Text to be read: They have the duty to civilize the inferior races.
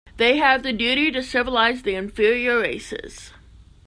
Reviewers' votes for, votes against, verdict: 2, 0, accepted